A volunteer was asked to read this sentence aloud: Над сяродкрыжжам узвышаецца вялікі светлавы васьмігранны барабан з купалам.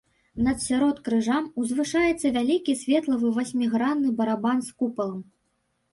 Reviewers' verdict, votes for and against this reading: rejected, 0, 2